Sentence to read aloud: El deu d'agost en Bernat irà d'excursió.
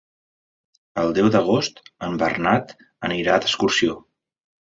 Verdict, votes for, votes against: rejected, 0, 2